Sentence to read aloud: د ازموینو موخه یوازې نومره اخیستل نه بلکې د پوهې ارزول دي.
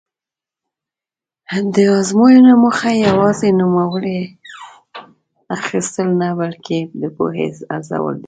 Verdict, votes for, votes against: rejected, 0, 2